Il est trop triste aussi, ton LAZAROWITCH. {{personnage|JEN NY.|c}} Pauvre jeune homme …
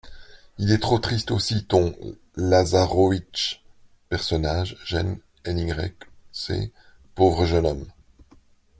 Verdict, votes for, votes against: accepted, 2, 0